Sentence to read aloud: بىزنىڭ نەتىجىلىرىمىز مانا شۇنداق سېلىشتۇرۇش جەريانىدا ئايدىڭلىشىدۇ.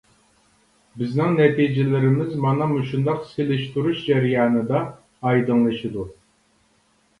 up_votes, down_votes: 1, 2